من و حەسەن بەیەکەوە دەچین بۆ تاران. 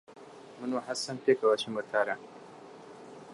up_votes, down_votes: 0, 2